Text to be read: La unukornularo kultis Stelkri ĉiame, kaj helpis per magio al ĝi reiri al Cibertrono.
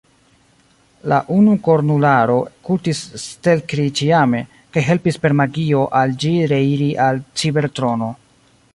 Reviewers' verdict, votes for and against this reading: accepted, 2, 0